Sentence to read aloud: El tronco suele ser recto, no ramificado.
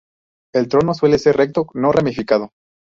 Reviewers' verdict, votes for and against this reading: rejected, 0, 4